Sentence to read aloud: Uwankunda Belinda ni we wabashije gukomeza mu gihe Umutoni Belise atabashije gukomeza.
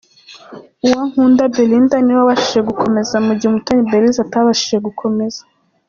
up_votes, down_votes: 2, 0